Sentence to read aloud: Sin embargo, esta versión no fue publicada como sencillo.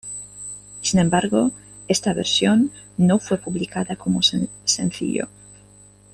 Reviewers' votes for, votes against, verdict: 1, 2, rejected